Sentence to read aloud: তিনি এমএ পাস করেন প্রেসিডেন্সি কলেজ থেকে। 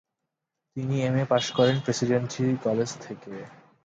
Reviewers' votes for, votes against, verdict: 6, 4, accepted